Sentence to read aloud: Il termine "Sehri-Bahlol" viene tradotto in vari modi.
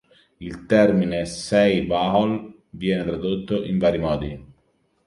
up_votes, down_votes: 1, 2